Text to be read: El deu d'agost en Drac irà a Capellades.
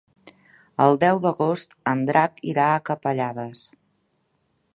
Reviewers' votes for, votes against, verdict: 3, 0, accepted